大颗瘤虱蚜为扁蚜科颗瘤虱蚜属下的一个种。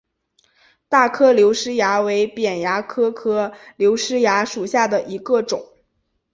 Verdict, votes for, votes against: accepted, 6, 0